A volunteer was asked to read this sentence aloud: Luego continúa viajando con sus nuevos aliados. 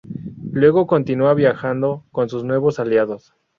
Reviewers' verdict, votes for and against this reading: rejected, 2, 2